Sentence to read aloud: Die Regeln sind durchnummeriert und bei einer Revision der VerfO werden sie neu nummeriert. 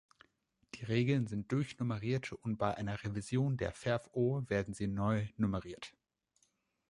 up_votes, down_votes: 2, 0